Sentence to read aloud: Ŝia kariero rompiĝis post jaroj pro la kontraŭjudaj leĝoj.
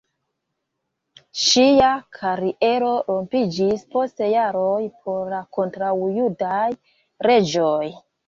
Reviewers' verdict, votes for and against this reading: rejected, 1, 2